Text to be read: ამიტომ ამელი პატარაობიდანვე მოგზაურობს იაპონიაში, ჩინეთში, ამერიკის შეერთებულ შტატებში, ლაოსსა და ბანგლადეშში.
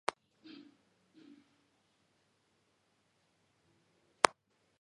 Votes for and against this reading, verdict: 1, 2, rejected